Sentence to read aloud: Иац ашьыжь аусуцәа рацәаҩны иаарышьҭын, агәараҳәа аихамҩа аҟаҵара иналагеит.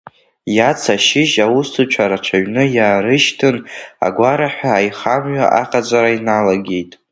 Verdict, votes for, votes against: rejected, 1, 2